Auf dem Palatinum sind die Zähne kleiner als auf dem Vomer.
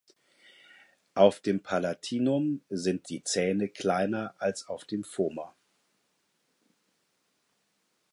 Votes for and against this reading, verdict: 4, 0, accepted